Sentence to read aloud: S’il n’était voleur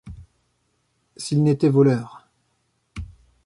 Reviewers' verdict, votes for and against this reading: accepted, 2, 0